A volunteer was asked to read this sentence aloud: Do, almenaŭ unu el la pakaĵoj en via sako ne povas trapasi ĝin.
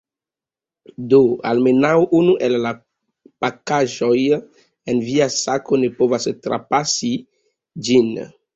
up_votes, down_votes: 2, 1